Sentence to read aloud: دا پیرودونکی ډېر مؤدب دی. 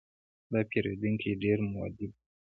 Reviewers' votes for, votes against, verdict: 2, 0, accepted